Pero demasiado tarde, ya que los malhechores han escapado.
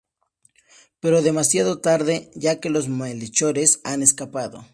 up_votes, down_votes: 2, 0